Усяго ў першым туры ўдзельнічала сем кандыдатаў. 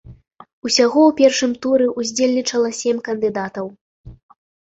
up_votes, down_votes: 0, 2